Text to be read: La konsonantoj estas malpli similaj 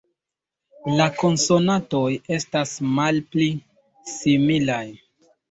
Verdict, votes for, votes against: accepted, 2, 1